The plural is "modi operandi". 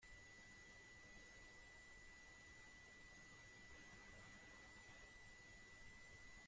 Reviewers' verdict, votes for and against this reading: rejected, 0, 2